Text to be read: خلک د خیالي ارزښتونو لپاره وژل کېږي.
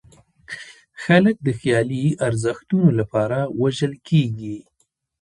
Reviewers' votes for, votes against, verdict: 1, 2, rejected